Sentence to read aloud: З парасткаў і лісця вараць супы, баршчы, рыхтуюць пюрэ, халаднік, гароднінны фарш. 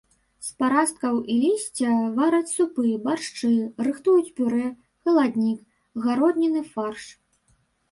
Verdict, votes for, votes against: rejected, 0, 2